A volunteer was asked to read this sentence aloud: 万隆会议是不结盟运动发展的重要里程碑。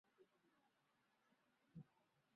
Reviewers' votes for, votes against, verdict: 0, 3, rejected